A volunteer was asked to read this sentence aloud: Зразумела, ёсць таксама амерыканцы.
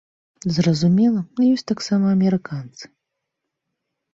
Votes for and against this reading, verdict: 3, 0, accepted